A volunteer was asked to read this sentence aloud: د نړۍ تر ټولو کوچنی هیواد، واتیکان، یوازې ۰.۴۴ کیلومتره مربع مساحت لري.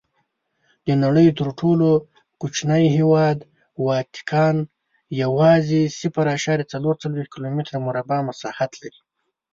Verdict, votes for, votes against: rejected, 0, 2